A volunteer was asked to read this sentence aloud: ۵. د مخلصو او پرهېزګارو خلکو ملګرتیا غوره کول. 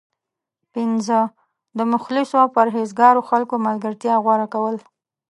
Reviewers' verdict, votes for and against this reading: rejected, 0, 2